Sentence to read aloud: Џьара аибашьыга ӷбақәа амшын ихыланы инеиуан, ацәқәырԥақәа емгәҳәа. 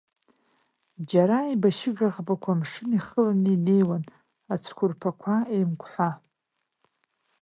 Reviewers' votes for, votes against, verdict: 1, 2, rejected